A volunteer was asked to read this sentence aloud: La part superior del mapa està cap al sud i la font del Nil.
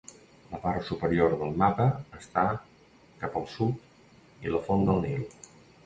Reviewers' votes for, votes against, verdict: 2, 0, accepted